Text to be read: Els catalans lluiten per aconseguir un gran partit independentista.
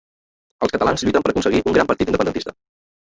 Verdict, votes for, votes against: rejected, 0, 2